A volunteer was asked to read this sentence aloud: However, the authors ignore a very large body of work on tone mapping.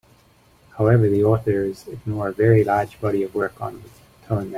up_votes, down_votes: 1, 2